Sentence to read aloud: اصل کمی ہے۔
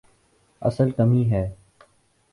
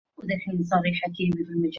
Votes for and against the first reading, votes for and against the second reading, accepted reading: 2, 0, 0, 2, first